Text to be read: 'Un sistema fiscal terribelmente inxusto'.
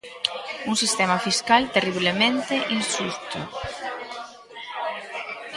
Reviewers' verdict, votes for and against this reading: rejected, 0, 3